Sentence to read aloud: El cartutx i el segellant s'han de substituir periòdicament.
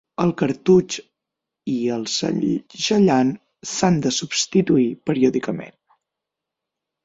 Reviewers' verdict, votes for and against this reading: rejected, 0, 9